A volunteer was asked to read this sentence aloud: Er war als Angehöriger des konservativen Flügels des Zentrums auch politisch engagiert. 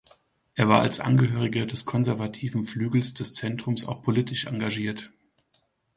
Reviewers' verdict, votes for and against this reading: accepted, 2, 0